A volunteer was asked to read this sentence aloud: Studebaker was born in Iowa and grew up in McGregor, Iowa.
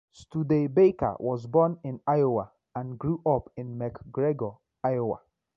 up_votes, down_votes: 1, 2